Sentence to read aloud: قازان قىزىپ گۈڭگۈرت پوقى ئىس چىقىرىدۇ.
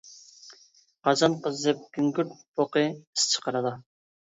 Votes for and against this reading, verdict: 0, 2, rejected